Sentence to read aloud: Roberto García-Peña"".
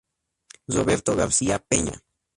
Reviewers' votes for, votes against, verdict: 0, 4, rejected